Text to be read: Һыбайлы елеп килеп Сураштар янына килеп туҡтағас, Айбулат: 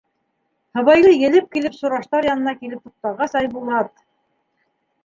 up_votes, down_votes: 1, 2